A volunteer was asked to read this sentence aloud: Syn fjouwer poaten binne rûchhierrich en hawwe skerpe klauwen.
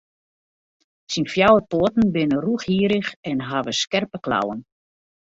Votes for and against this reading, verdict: 2, 1, accepted